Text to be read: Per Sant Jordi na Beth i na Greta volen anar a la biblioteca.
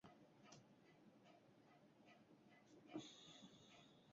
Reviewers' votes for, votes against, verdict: 0, 2, rejected